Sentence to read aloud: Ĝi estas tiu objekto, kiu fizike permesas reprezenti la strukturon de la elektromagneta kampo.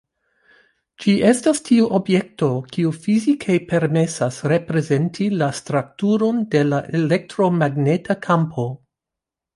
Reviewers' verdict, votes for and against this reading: rejected, 1, 2